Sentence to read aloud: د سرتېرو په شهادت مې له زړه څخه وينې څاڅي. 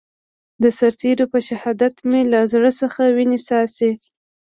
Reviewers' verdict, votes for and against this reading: accepted, 2, 0